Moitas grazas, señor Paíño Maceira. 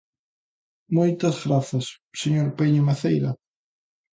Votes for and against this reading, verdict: 2, 0, accepted